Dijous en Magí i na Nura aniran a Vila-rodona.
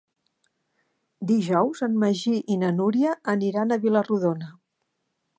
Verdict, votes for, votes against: rejected, 0, 2